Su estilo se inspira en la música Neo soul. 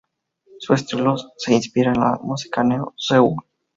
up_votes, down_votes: 0, 2